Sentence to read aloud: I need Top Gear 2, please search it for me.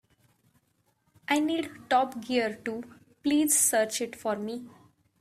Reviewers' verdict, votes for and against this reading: rejected, 0, 2